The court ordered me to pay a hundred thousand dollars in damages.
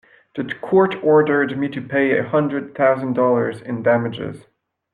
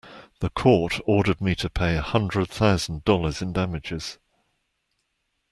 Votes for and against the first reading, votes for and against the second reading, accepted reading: 0, 2, 2, 0, second